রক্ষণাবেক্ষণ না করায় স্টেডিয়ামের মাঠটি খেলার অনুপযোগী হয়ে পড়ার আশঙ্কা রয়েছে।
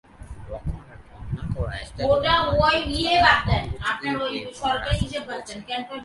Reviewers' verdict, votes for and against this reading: rejected, 0, 2